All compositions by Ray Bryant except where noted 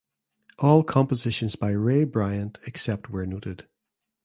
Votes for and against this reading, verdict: 2, 0, accepted